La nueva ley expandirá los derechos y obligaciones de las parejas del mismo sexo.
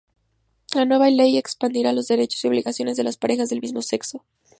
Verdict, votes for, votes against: accepted, 2, 0